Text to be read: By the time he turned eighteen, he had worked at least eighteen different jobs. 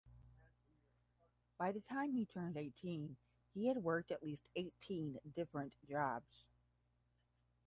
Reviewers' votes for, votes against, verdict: 5, 5, rejected